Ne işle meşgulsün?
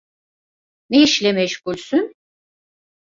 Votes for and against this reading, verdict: 2, 0, accepted